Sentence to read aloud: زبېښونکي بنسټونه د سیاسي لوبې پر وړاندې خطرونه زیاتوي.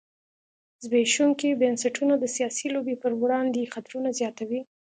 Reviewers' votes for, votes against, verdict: 2, 0, accepted